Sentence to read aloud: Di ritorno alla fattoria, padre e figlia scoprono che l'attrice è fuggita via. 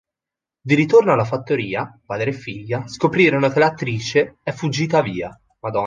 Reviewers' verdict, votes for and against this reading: rejected, 1, 3